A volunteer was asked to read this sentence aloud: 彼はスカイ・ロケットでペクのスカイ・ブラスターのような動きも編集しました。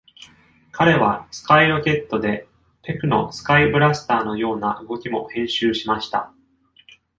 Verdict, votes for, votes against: accepted, 2, 0